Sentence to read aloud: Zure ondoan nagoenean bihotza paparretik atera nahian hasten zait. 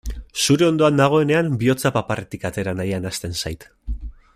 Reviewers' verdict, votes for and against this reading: accepted, 2, 0